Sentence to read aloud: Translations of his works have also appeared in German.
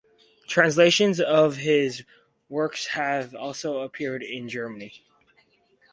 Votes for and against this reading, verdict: 0, 4, rejected